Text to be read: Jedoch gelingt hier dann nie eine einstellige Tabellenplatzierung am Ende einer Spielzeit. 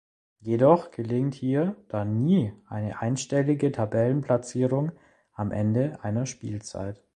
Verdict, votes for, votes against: accepted, 2, 0